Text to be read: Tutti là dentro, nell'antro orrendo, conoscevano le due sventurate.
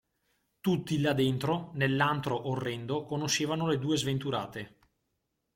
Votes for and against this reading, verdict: 2, 0, accepted